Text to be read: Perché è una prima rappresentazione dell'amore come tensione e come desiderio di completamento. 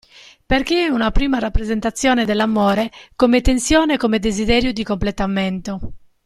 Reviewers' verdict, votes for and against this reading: accepted, 2, 0